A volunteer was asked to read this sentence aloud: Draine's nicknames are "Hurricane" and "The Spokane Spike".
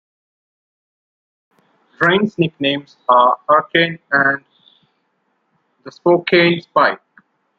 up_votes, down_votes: 2, 1